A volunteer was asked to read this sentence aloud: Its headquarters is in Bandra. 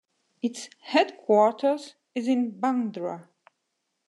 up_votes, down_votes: 2, 1